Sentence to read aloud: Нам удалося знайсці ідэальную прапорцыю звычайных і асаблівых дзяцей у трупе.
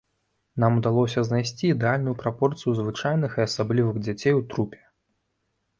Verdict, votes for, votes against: accepted, 2, 0